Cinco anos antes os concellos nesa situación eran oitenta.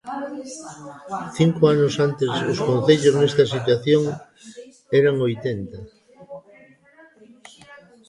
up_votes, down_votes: 1, 2